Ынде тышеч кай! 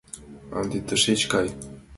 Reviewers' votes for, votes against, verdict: 2, 0, accepted